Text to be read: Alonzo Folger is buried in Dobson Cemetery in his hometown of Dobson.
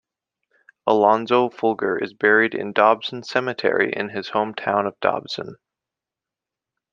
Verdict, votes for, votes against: accepted, 2, 0